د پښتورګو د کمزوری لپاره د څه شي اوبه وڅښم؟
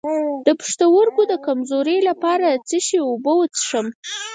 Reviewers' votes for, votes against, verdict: 2, 4, rejected